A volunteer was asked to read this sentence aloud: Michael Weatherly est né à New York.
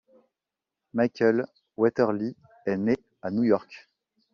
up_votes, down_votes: 2, 0